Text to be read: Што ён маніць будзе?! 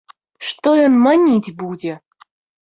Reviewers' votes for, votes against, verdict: 2, 0, accepted